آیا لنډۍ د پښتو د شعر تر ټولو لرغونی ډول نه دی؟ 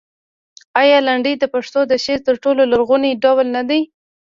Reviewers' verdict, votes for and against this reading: rejected, 0, 2